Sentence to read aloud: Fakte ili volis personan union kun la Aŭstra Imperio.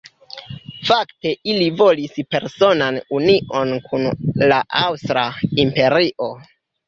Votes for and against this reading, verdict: 0, 2, rejected